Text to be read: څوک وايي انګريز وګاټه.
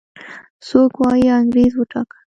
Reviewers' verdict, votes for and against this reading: accepted, 2, 0